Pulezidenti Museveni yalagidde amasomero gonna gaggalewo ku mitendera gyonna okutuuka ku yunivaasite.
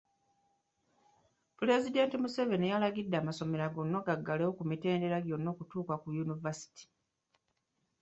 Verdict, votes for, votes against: accepted, 2, 1